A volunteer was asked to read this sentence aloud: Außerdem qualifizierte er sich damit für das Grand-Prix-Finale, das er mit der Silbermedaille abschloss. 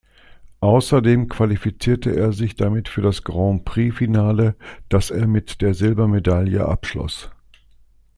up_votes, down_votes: 2, 0